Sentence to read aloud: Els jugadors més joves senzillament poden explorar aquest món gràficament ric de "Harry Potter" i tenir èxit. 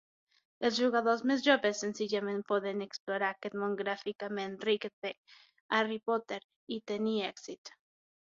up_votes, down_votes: 6, 0